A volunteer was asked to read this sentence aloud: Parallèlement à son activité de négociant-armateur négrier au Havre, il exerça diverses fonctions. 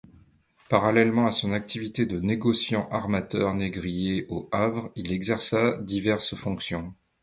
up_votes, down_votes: 2, 0